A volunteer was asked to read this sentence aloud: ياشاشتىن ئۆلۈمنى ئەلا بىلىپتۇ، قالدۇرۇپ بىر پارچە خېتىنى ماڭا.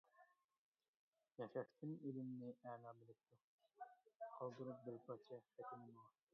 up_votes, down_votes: 0, 2